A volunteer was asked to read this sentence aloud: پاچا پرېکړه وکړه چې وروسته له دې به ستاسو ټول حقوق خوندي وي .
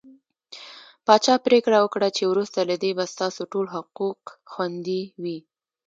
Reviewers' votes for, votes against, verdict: 2, 0, accepted